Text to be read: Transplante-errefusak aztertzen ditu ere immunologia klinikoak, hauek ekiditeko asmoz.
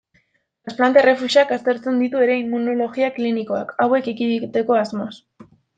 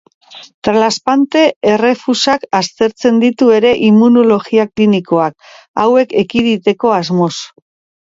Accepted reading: second